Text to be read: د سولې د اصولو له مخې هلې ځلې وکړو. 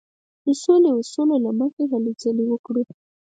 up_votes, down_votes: 4, 0